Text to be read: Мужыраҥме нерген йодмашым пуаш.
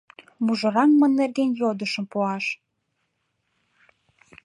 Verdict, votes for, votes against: rejected, 0, 2